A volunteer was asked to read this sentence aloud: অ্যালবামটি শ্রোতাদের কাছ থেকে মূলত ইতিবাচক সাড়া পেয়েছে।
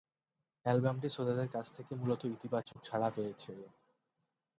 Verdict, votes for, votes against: accepted, 8, 2